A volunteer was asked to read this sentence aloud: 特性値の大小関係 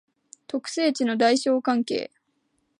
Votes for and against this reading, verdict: 2, 0, accepted